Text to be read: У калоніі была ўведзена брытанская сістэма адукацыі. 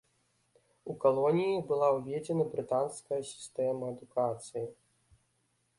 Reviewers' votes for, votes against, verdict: 2, 0, accepted